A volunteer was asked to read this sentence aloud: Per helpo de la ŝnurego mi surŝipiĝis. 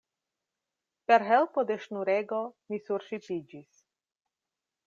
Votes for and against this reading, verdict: 0, 2, rejected